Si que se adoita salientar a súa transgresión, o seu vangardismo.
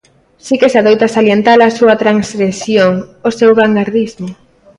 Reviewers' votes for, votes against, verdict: 2, 1, accepted